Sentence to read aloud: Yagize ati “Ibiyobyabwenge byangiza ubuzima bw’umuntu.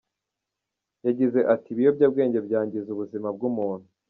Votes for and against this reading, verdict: 1, 2, rejected